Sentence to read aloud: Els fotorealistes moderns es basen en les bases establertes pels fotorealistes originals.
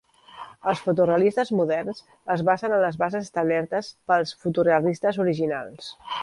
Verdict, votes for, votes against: accepted, 2, 0